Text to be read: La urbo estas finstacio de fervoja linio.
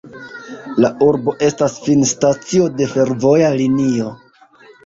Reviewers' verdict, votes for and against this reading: accepted, 2, 0